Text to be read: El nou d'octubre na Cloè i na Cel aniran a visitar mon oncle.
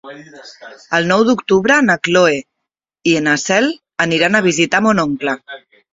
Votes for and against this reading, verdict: 0, 2, rejected